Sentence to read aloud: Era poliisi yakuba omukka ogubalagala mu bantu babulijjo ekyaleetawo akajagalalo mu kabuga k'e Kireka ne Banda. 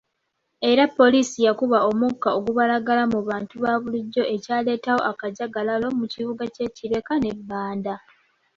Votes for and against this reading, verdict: 1, 2, rejected